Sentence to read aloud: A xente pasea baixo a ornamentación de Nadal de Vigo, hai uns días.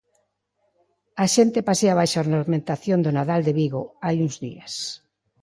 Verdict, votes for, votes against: rejected, 1, 2